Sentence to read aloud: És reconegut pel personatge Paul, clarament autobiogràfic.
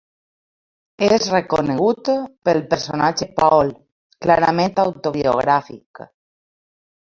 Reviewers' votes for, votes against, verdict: 0, 2, rejected